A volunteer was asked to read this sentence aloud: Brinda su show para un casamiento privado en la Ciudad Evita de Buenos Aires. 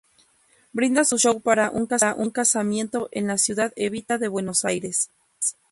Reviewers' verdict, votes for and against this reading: rejected, 0, 2